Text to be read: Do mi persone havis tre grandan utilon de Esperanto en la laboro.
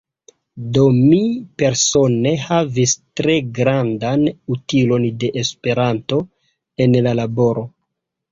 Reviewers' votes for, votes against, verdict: 0, 2, rejected